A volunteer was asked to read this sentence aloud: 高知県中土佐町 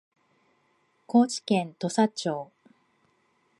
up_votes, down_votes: 0, 2